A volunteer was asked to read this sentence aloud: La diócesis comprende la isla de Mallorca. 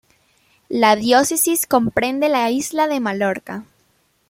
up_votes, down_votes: 1, 2